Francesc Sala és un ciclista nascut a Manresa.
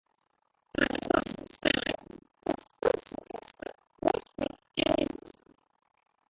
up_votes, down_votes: 0, 2